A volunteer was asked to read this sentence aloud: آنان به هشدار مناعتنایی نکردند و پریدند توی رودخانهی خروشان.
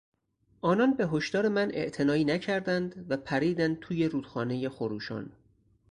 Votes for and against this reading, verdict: 4, 0, accepted